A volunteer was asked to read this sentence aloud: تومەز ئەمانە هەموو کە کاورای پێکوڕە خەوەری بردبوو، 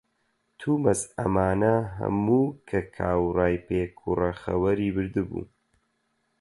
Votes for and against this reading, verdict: 4, 0, accepted